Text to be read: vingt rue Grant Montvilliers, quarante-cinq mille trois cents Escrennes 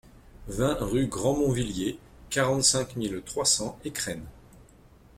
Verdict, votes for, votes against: accepted, 2, 0